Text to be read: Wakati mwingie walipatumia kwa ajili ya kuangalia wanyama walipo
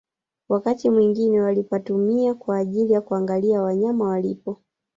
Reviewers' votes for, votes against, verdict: 0, 2, rejected